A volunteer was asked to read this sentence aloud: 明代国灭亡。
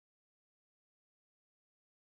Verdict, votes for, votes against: rejected, 1, 2